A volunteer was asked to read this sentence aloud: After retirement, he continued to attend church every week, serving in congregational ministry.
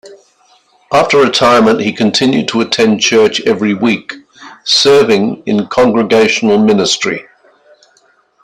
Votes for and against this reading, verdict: 3, 0, accepted